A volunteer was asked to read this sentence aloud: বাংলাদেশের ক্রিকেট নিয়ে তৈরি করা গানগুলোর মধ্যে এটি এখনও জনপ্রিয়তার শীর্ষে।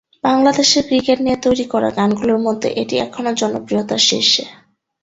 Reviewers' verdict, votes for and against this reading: accepted, 3, 0